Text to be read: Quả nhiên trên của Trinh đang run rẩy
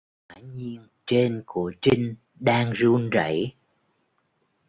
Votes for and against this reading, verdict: 0, 2, rejected